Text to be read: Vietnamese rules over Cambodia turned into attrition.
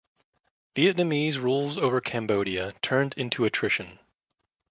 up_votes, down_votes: 2, 0